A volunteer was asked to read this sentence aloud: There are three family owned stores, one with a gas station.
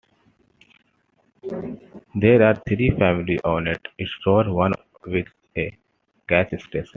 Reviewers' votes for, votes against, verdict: 2, 0, accepted